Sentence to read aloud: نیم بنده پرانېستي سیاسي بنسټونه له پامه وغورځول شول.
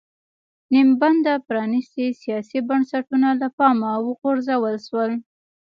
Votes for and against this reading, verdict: 2, 1, accepted